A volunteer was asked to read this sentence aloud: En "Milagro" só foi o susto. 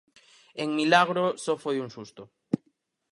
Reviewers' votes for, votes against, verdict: 2, 4, rejected